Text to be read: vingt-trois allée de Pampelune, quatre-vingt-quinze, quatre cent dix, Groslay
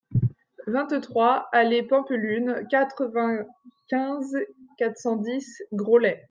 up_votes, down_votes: 0, 2